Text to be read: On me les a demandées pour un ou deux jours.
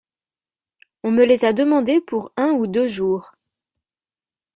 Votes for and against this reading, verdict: 2, 0, accepted